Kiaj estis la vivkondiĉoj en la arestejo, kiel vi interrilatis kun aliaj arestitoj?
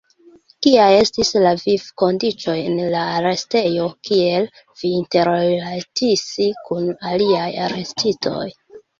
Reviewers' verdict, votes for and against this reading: rejected, 1, 2